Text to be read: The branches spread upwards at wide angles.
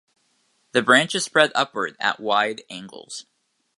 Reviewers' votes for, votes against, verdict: 1, 2, rejected